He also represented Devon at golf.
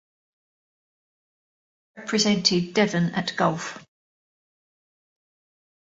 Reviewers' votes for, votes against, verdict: 0, 2, rejected